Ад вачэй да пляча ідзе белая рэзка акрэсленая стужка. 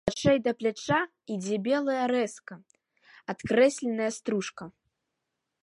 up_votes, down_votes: 1, 2